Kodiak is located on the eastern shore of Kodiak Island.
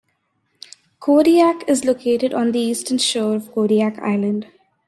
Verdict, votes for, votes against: accepted, 2, 0